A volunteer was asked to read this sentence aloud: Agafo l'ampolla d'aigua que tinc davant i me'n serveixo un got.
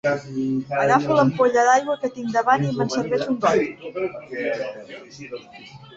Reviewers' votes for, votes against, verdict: 1, 2, rejected